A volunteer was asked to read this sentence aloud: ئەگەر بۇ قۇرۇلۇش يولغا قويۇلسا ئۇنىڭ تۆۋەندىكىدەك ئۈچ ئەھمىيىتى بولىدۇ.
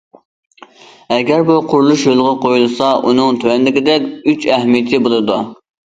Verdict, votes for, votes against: accepted, 2, 0